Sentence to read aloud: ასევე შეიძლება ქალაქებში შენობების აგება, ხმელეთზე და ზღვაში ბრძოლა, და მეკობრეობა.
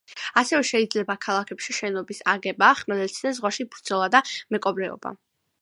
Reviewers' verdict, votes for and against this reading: rejected, 1, 2